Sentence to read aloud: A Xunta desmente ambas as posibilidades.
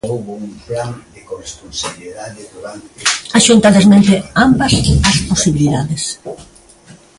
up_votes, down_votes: 0, 2